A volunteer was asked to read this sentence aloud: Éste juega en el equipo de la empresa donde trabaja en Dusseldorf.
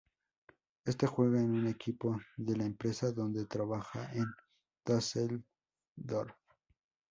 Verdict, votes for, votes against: accepted, 2, 0